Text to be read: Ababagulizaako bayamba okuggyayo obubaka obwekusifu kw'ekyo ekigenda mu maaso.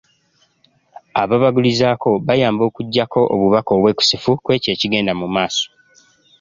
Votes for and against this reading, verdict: 1, 2, rejected